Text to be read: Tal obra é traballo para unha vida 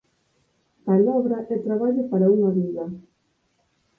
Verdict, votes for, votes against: rejected, 0, 4